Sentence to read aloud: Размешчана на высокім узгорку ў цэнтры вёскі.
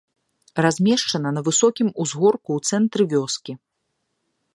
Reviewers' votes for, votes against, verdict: 2, 0, accepted